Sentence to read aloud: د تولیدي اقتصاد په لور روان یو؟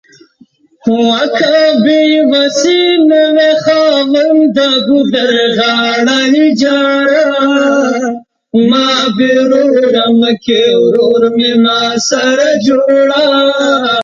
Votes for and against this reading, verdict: 0, 2, rejected